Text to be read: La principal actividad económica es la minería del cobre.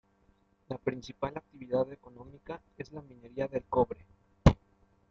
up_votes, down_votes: 0, 2